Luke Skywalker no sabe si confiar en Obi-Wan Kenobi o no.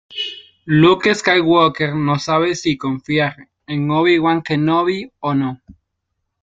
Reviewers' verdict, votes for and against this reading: accepted, 2, 0